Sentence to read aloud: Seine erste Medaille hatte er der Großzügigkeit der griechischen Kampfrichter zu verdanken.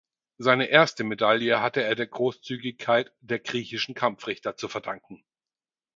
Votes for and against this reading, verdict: 4, 0, accepted